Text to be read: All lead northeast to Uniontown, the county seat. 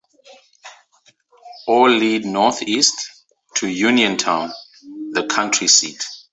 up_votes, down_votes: 2, 0